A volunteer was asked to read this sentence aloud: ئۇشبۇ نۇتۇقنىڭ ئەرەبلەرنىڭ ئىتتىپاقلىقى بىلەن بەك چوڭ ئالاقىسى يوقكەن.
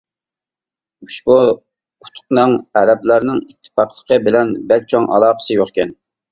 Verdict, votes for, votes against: rejected, 1, 2